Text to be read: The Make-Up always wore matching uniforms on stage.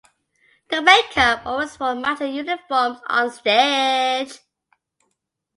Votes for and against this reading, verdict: 1, 2, rejected